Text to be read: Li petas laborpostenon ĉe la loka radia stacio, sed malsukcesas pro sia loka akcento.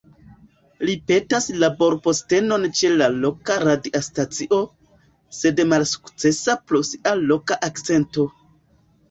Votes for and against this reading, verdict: 1, 2, rejected